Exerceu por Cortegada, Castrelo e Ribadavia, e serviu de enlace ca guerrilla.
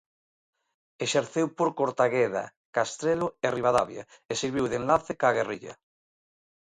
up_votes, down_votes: 0, 2